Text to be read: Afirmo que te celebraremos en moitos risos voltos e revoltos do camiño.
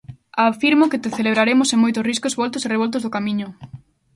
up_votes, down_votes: 0, 2